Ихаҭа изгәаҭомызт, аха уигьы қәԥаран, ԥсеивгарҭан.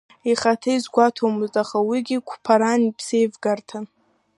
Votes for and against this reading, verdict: 2, 0, accepted